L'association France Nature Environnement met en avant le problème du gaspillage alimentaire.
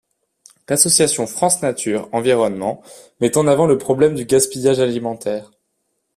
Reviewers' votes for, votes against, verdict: 2, 0, accepted